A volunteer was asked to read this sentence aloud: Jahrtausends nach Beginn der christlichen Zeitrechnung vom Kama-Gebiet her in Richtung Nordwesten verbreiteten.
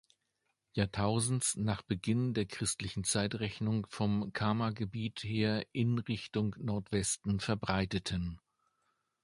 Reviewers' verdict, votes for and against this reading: accepted, 2, 0